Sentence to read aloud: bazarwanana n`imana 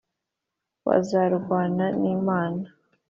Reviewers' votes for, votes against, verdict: 2, 0, accepted